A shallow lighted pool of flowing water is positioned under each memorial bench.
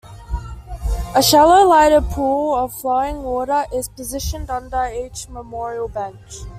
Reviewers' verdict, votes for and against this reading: accepted, 2, 0